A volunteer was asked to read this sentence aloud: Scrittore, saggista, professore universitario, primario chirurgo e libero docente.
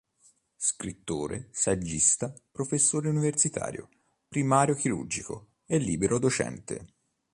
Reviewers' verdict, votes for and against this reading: rejected, 0, 2